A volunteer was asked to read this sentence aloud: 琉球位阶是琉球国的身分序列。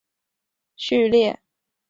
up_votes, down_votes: 2, 0